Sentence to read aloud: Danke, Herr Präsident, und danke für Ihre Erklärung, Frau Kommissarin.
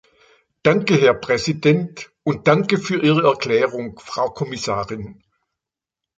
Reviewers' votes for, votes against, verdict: 3, 0, accepted